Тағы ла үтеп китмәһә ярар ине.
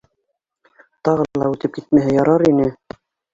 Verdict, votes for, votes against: rejected, 0, 2